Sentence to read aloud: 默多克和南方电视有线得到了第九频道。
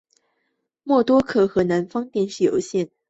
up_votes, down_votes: 1, 2